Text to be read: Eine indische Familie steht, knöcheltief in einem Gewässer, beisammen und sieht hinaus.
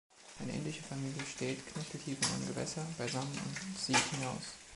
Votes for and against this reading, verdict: 2, 0, accepted